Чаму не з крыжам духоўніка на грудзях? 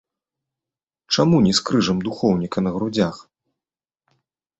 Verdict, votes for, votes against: accepted, 2, 0